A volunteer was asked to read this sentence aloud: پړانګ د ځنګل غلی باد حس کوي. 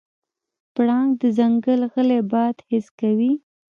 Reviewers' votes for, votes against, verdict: 2, 0, accepted